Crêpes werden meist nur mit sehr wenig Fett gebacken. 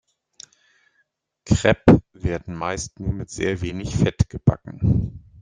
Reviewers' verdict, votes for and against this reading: rejected, 1, 2